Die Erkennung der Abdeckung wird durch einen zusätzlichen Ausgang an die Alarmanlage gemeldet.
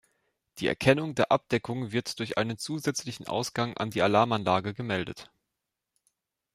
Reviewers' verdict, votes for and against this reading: rejected, 1, 2